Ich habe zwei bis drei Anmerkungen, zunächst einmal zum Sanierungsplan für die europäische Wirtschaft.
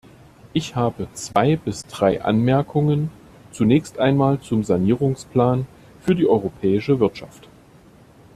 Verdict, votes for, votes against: accepted, 2, 0